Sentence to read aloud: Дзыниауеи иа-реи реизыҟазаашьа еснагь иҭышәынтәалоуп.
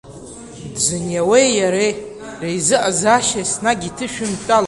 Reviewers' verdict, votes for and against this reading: rejected, 1, 2